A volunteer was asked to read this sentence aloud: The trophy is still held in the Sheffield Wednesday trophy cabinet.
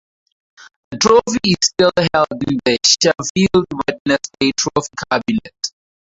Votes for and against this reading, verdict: 0, 2, rejected